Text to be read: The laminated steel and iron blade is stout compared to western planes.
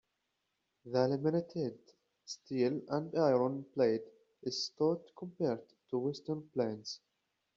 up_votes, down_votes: 2, 0